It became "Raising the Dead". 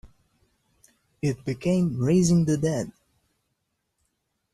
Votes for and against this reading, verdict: 2, 0, accepted